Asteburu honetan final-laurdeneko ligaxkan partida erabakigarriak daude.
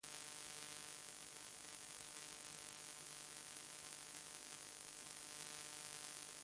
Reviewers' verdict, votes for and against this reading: rejected, 0, 2